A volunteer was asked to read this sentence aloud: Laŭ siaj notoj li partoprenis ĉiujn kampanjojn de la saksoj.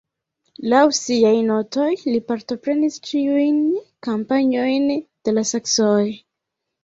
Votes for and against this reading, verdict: 1, 2, rejected